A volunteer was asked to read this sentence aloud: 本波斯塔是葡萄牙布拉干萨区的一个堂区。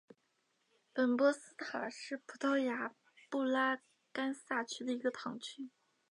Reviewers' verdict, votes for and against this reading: accepted, 2, 0